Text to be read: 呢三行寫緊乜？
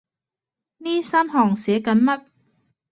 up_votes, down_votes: 2, 0